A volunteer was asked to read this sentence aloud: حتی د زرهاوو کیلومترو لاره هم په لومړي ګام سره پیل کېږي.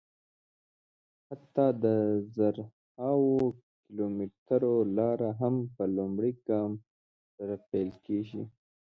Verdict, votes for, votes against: rejected, 1, 2